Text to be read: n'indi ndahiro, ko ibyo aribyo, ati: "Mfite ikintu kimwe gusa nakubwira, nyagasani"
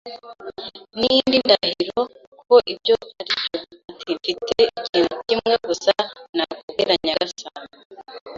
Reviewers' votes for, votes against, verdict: 1, 2, rejected